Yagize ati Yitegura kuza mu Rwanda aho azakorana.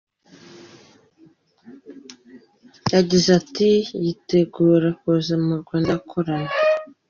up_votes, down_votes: 1, 2